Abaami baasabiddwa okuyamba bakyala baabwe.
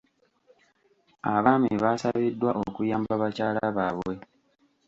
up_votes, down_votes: 2, 1